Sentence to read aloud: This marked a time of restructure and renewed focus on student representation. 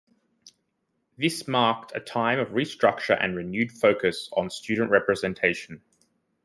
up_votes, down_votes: 2, 0